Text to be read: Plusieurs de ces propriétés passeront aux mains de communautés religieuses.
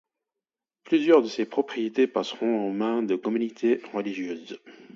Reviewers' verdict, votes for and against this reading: accepted, 2, 0